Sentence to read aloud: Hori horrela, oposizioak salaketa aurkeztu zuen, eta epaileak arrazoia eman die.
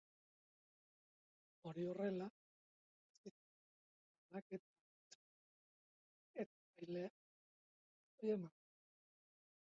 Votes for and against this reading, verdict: 0, 2, rejected